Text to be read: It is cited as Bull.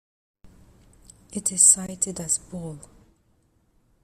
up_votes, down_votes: 2, 1